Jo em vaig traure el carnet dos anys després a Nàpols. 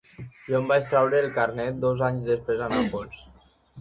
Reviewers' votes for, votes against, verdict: 3, 0, accepted